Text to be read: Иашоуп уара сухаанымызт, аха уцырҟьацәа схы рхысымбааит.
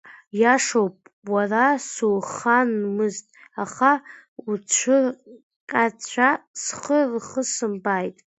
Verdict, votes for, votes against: rejected, 0, 2